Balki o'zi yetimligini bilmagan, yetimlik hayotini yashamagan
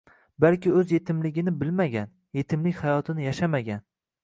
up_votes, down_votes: 2, 0